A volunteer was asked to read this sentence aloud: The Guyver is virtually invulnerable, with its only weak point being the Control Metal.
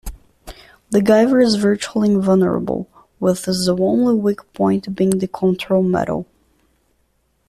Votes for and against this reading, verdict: 1, 2, rejected